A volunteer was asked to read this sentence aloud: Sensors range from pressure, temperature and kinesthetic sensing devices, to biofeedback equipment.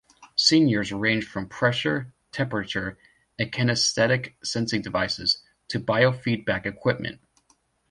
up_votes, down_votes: 1, 2